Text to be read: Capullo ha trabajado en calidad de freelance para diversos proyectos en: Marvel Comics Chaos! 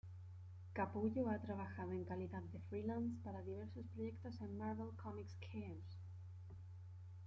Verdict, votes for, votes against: accepted, 2, 1